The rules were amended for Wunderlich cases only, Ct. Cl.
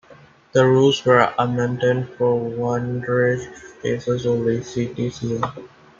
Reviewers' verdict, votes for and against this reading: rejected, 1, 2